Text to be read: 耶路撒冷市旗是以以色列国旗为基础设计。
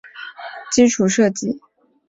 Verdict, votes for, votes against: rejected, 0, 3